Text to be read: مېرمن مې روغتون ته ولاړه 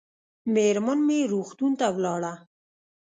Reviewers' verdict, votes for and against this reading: rejected, 1, 2